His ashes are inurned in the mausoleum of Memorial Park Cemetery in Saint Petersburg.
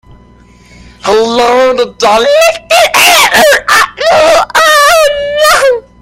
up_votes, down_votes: 0, 2